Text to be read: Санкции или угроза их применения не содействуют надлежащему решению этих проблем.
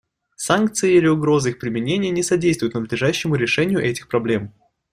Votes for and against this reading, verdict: 2, 0, accepted